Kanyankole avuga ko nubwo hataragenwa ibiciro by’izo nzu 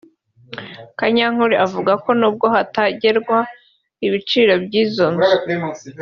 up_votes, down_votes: 1, 3